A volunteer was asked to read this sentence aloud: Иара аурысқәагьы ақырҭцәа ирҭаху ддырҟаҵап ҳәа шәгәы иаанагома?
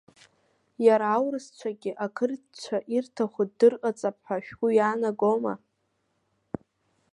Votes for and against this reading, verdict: 1, 2, rejected